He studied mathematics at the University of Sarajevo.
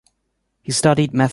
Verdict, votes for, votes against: rejected, 0, 2